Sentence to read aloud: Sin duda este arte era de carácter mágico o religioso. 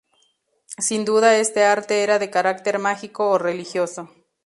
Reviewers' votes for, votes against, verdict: 2, 0, accepted